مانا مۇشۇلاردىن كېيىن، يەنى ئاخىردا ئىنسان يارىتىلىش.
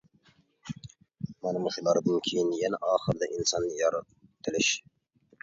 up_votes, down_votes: 0, 2